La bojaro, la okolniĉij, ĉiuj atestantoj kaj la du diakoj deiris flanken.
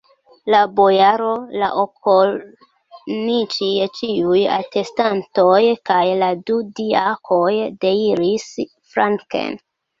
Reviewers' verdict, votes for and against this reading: rejected, 0, 2